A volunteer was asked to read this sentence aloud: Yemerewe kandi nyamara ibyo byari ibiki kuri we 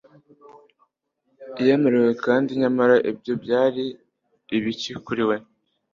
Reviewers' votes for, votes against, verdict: 2, 0, accepted